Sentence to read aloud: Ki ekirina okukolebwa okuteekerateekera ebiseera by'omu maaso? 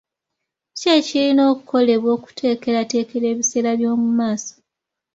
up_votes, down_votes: 2, 0